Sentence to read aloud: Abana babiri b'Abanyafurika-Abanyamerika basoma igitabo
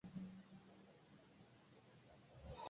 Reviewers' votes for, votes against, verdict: 0, 2, rejected